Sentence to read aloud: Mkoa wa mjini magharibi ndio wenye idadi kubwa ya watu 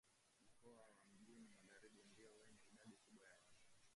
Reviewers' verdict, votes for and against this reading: rejected, 1, 2